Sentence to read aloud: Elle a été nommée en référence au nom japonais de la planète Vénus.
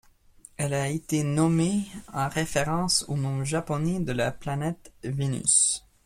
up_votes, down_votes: 0, 2